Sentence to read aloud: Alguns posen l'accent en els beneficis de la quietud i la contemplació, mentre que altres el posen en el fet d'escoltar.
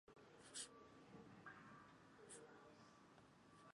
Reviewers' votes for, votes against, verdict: 0, 3, rejected